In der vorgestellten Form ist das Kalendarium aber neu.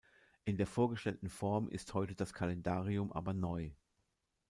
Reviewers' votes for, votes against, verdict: 0, 2, rejected